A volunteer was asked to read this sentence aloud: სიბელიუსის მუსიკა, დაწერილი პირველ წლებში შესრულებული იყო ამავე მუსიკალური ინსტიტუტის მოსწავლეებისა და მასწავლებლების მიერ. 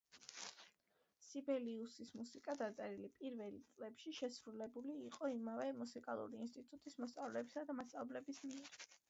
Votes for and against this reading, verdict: 2, 1, accepted